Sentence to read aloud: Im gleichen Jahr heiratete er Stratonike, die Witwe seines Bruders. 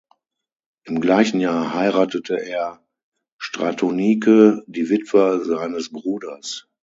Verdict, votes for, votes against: accepted, 9, 0